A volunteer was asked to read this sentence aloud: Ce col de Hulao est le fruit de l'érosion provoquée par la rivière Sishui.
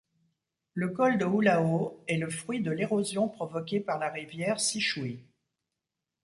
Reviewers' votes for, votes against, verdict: 1, 2, rejected